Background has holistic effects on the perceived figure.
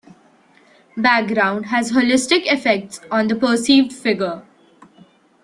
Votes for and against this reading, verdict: 2, 0, accepted